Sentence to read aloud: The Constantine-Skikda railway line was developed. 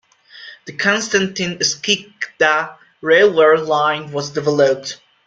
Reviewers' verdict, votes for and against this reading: rejected, 0, 2